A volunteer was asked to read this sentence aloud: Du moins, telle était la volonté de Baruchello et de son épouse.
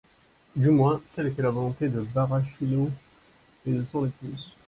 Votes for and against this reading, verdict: 0, 2, rejected